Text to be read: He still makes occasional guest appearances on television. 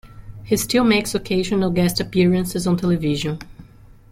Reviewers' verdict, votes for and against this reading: accepted, 2, 0